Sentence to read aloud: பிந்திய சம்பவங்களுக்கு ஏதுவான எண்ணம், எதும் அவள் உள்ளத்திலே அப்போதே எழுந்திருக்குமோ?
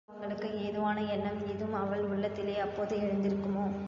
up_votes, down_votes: 0, 2